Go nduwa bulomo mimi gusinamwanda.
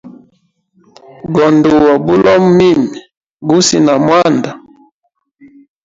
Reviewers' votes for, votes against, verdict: 1, 2, rejected